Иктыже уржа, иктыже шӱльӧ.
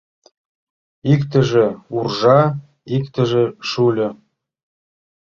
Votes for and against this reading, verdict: 1, 2, rejected